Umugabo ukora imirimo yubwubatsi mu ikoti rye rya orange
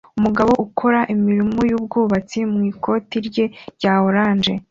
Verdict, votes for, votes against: accepted, 2, 0